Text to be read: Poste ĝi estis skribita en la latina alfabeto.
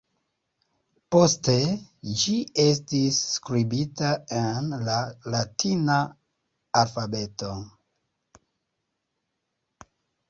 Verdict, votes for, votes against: accepted, 3, 0